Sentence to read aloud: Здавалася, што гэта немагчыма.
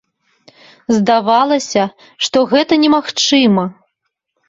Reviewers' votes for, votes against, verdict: 2, 0, accepted